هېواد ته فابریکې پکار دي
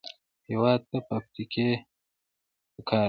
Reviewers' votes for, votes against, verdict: 2, 1, accepted